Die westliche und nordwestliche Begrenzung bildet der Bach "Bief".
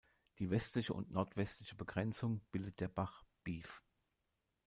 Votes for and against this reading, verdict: 1, 2, rejected